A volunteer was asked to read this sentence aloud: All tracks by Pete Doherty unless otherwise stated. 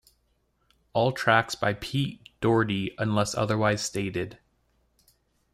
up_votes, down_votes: 2, 0